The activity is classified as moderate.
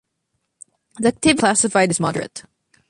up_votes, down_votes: 0, 2